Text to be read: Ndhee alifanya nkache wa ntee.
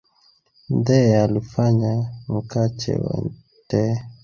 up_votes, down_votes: 0, 2